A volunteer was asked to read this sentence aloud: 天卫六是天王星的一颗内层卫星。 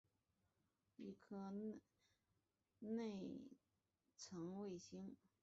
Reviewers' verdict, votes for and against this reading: rejected, 0, 2